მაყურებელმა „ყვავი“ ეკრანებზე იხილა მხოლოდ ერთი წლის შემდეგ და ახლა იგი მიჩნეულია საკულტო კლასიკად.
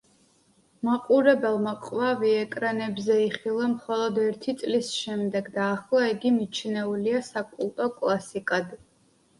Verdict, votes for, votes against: accepted, 2, 0